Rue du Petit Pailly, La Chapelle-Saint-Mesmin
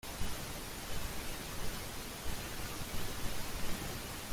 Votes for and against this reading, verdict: 0, 2, rejected